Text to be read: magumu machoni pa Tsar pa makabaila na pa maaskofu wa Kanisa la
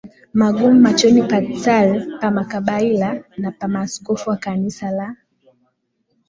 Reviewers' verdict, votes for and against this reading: accepted, 2, 0